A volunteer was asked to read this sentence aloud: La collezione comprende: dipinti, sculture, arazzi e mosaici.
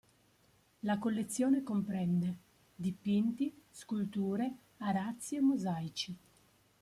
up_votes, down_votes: 2, 1